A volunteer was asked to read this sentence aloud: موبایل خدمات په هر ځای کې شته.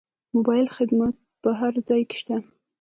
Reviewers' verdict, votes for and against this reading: rejected, 0, 2